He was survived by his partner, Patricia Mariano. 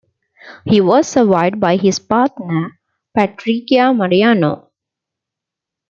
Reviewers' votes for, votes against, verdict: 1, 2, rejected